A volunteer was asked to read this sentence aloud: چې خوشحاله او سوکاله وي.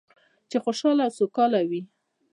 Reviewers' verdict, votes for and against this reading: rejected, 0, 2